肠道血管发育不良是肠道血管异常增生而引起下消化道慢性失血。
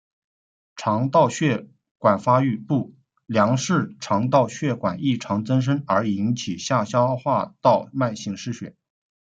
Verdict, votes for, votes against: accepted, 2, 1